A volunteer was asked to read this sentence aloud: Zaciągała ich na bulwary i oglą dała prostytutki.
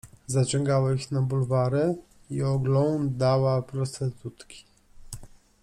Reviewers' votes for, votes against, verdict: 1, 2, rejected